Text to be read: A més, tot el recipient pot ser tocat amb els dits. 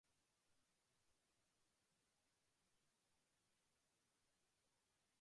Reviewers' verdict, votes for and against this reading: rejected, 0, 2